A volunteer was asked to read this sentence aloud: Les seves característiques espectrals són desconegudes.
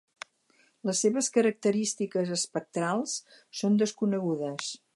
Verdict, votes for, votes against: accepted, 6, 0